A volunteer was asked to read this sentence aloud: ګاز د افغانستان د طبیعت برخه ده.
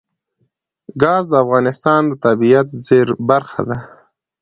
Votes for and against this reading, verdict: 1, 2, rejected